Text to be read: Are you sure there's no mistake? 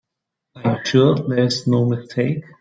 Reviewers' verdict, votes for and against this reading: rejected, 2, 3